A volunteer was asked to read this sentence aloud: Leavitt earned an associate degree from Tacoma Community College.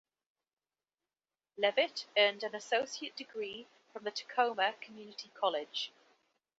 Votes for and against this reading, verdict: 2, 1, accepted